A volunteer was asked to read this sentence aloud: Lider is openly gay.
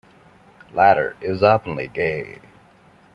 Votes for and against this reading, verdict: 1, 2, rejected